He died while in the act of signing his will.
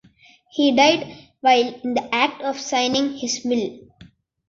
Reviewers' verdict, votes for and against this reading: accepted, 2, 0